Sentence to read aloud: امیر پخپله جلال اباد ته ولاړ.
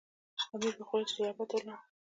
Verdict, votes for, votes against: rejected, 1, 2